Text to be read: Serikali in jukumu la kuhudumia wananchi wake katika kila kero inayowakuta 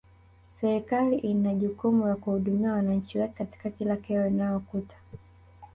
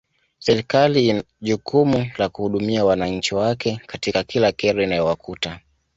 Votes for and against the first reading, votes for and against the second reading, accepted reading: 1, 2, 2, 0, second